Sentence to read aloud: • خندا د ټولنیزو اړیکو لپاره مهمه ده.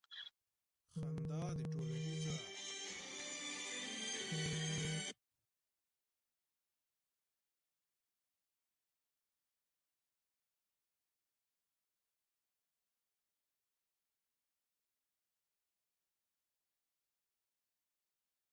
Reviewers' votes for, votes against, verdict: 0, 2, rejected